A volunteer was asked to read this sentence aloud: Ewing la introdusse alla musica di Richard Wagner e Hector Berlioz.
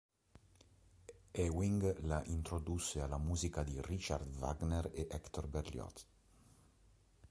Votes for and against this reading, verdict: 0, 2, rejected